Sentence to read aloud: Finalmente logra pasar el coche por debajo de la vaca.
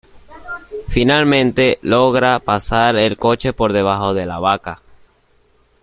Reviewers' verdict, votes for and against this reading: accepted, 2, 1